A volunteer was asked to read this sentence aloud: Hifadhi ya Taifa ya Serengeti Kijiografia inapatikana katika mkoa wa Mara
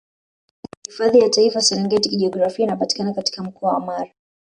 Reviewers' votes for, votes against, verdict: 1, 2, rejected